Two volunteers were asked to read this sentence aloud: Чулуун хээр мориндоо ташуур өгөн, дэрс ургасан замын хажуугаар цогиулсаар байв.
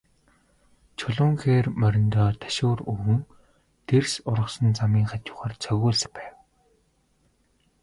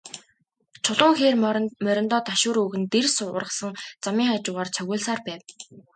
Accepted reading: second